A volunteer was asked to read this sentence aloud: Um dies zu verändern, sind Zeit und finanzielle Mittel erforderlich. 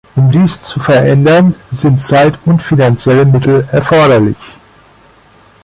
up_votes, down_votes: 3, 0